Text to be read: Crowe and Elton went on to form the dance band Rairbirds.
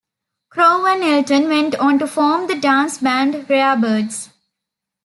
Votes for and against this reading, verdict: 2, 0, accepted